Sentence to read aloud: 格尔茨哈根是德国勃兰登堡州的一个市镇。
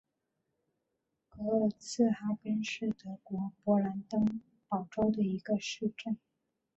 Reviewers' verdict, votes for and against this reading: rejected, 1, 2